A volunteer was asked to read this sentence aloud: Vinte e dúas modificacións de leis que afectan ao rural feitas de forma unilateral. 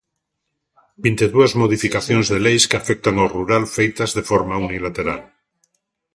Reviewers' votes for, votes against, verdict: 2, 0, accepted